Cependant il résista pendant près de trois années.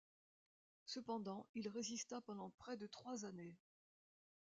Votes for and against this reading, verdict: 2, 0, accepted